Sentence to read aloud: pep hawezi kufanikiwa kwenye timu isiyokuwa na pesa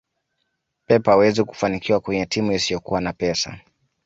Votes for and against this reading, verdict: 2, 0, accepted